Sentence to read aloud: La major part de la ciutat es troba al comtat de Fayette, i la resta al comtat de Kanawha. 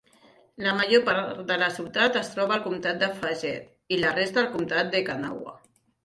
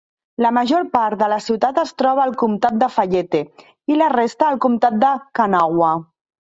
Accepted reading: second